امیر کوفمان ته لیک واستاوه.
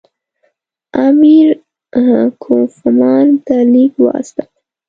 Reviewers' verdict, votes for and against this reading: accepted, 2, 0